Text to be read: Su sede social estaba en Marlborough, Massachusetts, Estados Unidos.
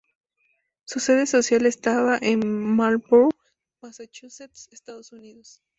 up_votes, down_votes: 4, 2